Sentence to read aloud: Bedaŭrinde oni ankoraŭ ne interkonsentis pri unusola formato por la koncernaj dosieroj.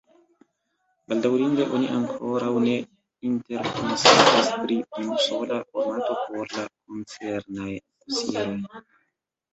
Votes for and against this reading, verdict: 0, 2, rejected